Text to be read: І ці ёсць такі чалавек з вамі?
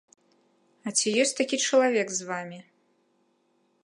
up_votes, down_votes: 1, 2